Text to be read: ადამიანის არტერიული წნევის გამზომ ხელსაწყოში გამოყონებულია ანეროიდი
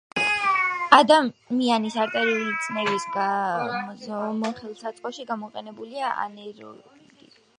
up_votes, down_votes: 1, 2